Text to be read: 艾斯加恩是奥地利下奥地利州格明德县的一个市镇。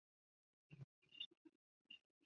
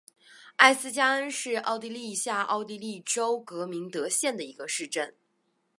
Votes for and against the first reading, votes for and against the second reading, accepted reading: 1, 5, 4, 0, second